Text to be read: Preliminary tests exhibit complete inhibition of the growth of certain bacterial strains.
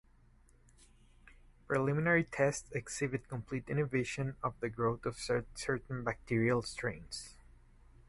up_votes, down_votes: 2, 4